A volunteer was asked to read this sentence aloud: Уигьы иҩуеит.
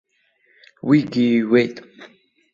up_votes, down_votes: 0, 2